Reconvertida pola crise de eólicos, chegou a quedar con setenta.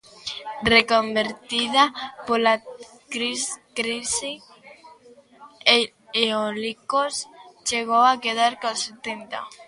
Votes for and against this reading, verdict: 0, 2, rejected